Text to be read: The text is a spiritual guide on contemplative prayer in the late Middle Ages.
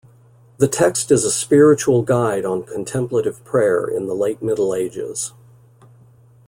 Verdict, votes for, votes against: accepted, 2, 0